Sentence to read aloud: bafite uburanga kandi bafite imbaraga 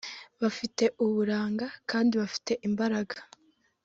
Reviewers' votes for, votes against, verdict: 2, 0, accepted